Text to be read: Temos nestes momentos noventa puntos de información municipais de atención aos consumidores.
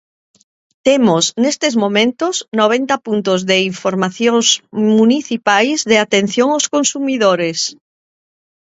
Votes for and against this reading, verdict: 1, 2, rejected